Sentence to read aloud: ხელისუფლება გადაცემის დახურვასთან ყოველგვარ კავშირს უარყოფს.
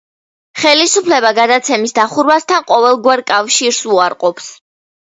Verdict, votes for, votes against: accepted, 2, 0